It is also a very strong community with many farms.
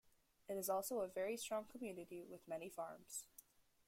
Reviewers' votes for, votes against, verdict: 2, 0, accepted